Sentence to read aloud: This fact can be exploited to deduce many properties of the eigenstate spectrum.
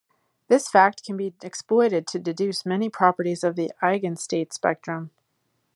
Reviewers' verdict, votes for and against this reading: accepted, 2, 0